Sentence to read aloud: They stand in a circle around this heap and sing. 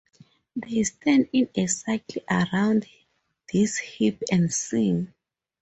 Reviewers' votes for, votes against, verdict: 2, 0, accepted